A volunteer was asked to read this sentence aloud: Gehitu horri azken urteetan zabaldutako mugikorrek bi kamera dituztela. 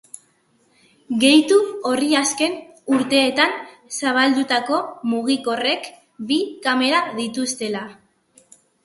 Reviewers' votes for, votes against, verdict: 2, 0, accepted